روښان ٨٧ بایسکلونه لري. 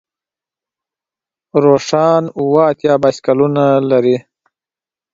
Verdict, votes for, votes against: rejected, 0, 2